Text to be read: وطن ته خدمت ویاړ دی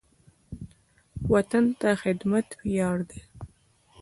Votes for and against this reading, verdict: 0, 2, rejected